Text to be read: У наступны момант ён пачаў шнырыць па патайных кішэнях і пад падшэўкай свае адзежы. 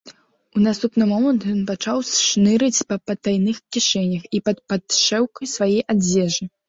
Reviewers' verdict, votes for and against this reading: rejected, 1, 2